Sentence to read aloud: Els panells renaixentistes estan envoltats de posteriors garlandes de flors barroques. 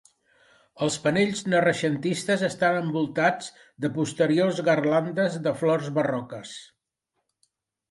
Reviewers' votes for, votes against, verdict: 1, 2, rejected